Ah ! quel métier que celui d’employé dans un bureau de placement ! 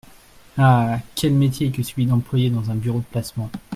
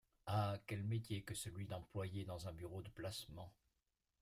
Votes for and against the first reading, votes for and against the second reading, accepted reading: 2, 0, 1, 2, first